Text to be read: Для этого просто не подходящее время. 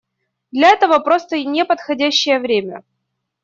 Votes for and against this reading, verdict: 2, 0, accepted